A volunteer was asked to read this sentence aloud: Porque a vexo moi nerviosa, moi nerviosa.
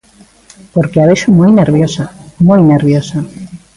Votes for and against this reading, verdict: 2, 0, accepted